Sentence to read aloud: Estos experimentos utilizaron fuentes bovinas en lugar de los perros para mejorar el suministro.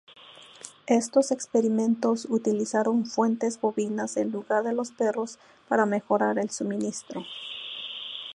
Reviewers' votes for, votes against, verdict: 0, 2, rejected